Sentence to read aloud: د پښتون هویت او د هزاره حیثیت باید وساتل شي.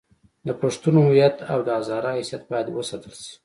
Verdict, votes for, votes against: accepted, 2, 0